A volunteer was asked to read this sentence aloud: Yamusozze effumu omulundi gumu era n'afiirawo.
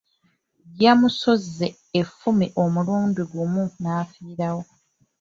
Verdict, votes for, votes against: rejected, 1, 2